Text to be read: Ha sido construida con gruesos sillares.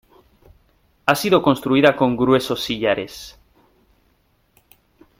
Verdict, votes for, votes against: accepted, 2, 0